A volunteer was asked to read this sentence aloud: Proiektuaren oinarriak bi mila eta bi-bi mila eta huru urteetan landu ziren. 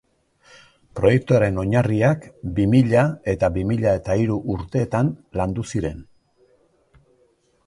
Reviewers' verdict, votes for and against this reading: rejected, 0, 2